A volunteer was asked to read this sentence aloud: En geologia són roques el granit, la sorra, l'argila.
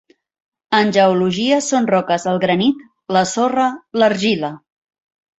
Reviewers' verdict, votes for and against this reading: accepted, 3, 0